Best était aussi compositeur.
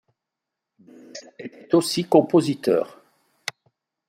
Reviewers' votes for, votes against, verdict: 0, 2, rejected